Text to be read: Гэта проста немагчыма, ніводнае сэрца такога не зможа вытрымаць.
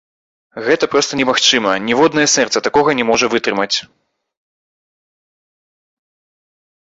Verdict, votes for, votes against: rejected, 1, 3